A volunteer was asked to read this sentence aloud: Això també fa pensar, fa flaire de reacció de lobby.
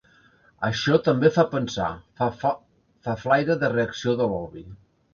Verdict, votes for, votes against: rejected, 0, 2